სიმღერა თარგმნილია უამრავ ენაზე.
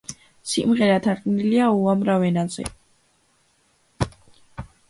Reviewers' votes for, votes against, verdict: 2, 0, accepted